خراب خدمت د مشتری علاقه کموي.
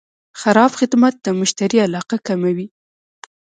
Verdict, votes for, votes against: accepted, 2, 1